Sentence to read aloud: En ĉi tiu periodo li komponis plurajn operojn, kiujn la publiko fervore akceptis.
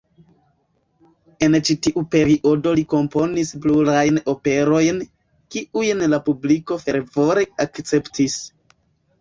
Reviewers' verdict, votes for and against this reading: rejected, 1, 2